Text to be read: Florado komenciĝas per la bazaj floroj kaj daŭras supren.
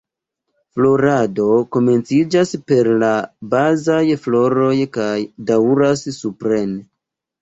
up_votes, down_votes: 1, 3